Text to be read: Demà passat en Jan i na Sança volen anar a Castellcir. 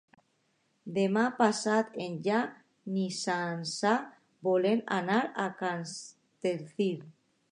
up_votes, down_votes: 0, 2